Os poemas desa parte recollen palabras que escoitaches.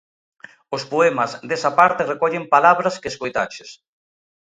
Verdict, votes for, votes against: accepted, 2, 0